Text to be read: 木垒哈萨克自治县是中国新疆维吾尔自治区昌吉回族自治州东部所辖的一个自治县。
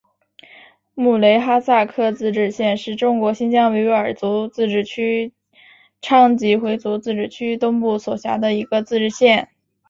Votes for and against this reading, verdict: 2, 2, rejected